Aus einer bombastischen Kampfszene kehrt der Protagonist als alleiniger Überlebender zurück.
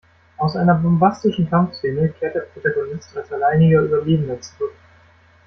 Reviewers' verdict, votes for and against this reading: accepted, 2, 0